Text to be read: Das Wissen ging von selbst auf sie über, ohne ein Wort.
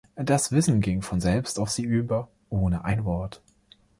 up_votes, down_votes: 2, 0